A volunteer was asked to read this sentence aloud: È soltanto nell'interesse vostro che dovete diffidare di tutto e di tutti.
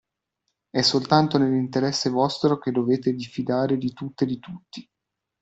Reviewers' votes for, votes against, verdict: 2, 0, accepted